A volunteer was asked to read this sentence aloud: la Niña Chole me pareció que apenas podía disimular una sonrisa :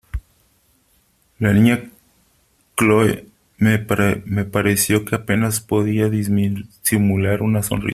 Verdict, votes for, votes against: rejected, 0, 3